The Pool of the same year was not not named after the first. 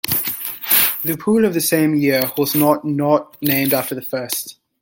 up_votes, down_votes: 1, 2